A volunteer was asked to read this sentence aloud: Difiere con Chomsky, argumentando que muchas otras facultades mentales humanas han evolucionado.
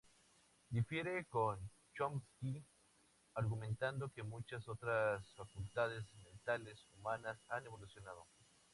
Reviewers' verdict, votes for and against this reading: rejected, 0, 2